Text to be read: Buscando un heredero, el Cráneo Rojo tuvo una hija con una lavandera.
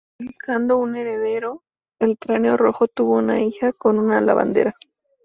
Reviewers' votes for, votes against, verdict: 4, 0, accepted